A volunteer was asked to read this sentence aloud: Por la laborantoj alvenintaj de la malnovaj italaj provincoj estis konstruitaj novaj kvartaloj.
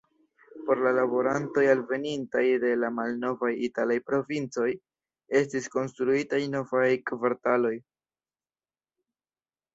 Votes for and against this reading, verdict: 2, 0, accepted